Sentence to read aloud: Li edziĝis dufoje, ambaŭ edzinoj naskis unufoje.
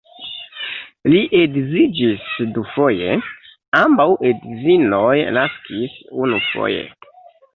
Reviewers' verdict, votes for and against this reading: accepted, 2, 1